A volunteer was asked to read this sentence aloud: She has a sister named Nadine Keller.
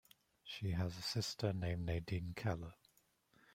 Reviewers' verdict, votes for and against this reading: rejected, 0, 2